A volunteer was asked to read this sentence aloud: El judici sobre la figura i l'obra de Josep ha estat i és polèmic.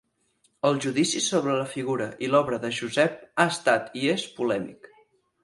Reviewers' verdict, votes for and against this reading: accepted, 4, 0